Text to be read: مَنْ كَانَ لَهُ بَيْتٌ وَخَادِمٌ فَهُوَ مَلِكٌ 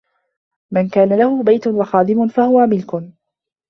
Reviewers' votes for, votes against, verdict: 0, 2, rejected